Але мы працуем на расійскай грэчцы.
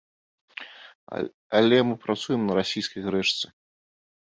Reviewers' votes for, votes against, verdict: 1, 2, rejected